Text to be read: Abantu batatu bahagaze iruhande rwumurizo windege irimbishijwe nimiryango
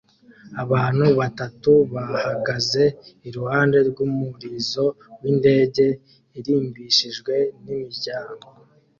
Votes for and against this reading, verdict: 2, 0, accepted